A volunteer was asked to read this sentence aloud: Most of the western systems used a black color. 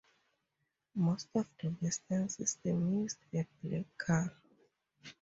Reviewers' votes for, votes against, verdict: 0, 4, rejected